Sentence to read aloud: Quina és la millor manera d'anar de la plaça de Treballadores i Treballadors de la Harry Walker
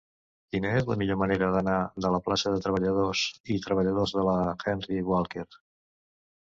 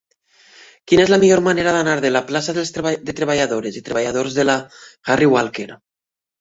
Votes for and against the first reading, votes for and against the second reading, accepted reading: 0, 2, 2, 0, second